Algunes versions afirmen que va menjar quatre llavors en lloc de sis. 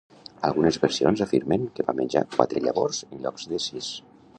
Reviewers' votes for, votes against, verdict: 0, 2, rejected